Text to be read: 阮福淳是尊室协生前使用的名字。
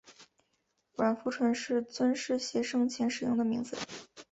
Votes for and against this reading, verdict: 2, 1, accepted